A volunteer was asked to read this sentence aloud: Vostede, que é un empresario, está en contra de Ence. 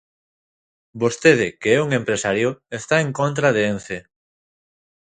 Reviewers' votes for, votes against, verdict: 2, 0, accepted